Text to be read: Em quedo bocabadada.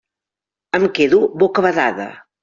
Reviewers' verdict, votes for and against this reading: accepted, 2, 0